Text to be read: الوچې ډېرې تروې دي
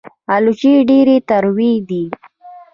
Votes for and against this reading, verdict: 2, 0, accepted